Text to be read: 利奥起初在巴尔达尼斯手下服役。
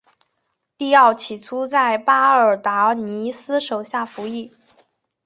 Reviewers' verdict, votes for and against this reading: accepted, 2, 0